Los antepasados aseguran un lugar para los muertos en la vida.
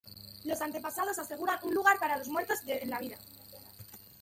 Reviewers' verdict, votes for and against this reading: rejected, 1, 2